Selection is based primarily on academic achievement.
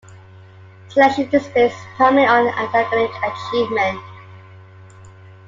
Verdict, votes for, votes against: accepted, 2, 1